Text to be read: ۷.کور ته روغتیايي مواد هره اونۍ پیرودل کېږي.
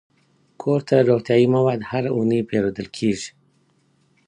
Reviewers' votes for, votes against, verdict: 0, 2, rejected